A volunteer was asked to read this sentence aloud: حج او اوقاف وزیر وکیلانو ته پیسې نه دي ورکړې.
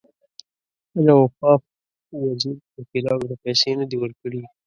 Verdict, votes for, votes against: rejected, 1, 2